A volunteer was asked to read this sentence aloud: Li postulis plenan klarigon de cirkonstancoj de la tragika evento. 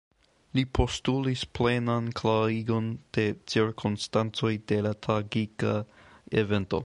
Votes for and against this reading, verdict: 1, 2, rejected